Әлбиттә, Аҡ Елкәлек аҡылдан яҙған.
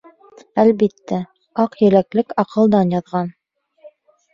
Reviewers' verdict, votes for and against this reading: rejected, 1, 4